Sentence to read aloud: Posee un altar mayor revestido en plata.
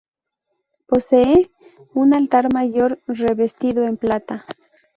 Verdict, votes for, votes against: accepted, 2, 0